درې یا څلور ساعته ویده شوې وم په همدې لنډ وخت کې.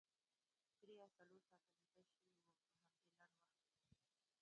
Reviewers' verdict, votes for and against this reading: rejected, 0, 2